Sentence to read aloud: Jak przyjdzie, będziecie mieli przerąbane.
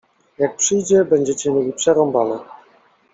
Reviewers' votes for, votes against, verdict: 2, 0, accepted